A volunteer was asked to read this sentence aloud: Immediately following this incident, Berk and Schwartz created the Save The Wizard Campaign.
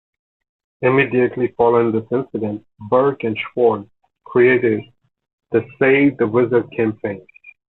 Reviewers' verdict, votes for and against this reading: accepted, 2, 0